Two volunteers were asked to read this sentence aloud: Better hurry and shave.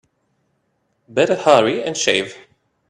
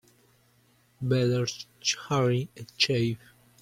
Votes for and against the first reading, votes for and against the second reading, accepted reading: 2, 0, 1, 2, first